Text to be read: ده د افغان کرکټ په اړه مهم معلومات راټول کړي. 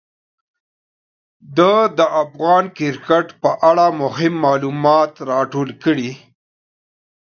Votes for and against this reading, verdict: 2, 0, accepted